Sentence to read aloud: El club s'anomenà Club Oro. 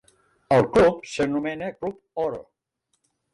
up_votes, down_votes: 1, 2